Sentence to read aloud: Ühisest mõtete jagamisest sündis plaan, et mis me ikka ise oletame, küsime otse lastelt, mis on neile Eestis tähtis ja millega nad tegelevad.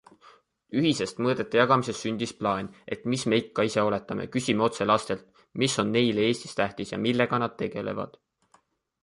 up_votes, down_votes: 3, 1